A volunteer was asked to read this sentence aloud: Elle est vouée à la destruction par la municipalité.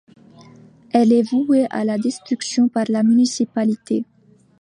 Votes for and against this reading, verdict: 2, 0, accepted